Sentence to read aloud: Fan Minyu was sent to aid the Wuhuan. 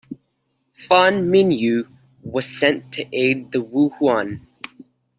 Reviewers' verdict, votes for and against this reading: accepted, 2, 0